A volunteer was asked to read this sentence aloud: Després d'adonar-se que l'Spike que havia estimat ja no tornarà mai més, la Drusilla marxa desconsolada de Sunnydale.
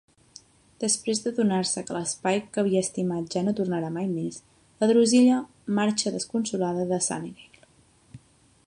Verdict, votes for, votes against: accepted, 2, 1